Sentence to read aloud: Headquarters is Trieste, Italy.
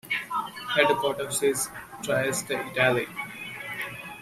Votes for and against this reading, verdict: 1, 2, rejected